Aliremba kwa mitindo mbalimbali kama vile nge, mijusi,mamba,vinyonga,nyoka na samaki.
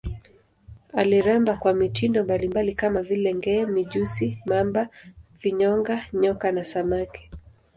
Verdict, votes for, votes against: accepted, 2, 0